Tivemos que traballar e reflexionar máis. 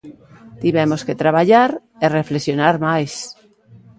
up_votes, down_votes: 2, 0